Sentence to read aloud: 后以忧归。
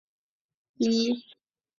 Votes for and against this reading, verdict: 0, 2, rejected